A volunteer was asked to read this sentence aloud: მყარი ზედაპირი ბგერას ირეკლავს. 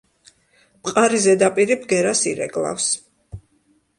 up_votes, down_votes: 2, 0